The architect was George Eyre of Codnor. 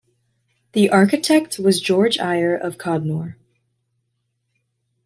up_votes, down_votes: 2, 0